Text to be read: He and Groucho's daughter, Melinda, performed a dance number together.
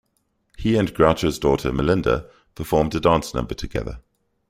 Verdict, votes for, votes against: accepted, 2, 0